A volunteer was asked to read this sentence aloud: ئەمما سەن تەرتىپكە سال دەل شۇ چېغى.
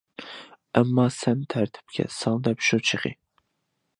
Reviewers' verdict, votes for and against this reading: accepted, 2, 0